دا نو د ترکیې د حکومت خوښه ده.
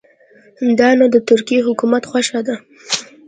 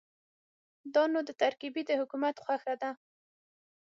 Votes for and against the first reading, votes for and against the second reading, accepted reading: 2, 0, 3, 6, first